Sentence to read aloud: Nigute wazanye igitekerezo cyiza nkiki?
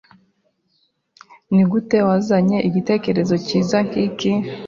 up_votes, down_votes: 2, 0